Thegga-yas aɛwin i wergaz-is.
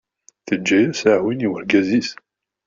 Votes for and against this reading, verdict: 0, 2, rejected